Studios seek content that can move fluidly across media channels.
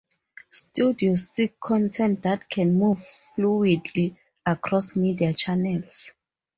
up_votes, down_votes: 4, 0